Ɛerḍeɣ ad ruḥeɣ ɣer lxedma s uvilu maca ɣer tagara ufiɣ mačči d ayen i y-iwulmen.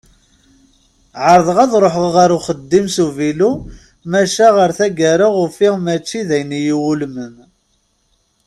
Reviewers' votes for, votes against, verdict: 0, 2, rejected